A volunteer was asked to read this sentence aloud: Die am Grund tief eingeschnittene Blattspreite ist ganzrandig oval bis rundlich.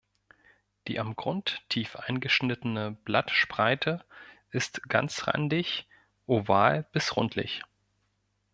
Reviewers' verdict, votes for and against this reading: accepted, 2, 0